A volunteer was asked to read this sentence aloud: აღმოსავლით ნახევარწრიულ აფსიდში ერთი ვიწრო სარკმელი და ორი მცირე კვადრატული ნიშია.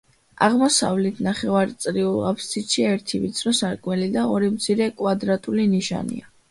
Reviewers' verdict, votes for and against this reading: rejected, 0, 2